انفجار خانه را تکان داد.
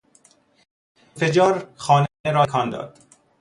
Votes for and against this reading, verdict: 0, 2, rejected